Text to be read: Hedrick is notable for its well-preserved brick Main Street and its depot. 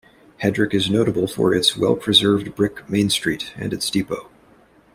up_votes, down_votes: 2, 0